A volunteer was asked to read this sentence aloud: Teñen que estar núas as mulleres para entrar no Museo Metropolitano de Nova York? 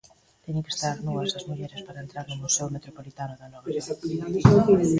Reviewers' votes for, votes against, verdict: 0, 2, rejected